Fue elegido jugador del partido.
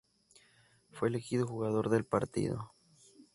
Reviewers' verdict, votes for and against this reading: accepted, 2, 0